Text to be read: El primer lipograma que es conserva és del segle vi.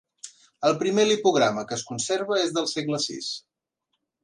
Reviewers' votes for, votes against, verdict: 1, 3, rejected